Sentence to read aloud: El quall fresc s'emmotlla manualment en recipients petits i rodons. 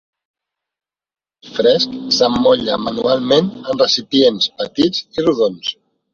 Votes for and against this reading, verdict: 1, 2, rejected